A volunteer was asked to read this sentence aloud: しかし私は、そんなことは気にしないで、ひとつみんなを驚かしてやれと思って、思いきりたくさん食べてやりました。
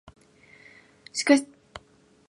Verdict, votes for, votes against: rejected, 0, 2